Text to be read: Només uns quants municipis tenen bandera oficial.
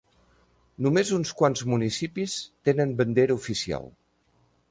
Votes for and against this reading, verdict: 4, 0, accepted